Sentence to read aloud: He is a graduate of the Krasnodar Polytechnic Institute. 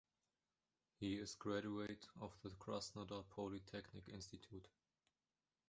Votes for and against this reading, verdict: 2, 0, accepted